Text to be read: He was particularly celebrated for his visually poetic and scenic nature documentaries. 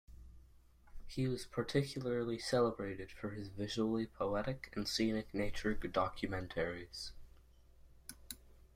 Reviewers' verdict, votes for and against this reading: accepted, 2, 1